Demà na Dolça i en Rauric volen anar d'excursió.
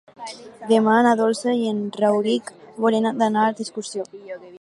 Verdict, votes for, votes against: accepted, 2, 0